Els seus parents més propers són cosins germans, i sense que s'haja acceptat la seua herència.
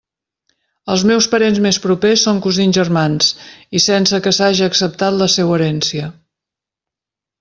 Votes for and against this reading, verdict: 1, 2, rejected